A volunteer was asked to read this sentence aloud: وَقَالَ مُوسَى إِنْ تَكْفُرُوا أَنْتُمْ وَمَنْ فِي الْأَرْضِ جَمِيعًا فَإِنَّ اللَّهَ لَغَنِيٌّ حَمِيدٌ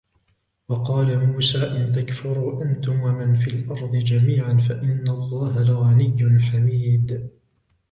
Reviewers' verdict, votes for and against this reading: accepted, 2, 0